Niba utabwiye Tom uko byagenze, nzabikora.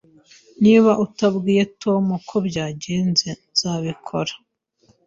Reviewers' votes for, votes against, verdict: 2, 0, accepted